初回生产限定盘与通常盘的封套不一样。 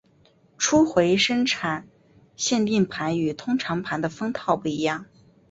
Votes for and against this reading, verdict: 2, 0, accepted